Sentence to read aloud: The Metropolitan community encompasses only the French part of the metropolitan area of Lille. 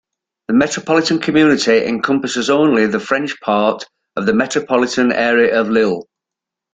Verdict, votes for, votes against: accepted, 2, 0